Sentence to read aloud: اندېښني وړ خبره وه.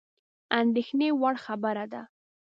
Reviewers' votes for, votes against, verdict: 0, 2, rejected